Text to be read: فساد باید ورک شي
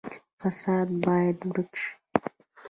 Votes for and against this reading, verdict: 1, 2, rejected